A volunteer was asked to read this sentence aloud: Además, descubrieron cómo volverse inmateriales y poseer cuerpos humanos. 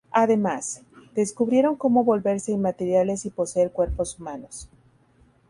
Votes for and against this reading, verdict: 2, 0, accepted